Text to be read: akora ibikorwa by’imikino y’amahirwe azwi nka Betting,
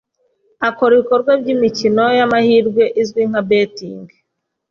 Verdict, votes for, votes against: rejected, 1, 2